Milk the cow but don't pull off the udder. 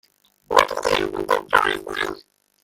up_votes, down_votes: 0, 2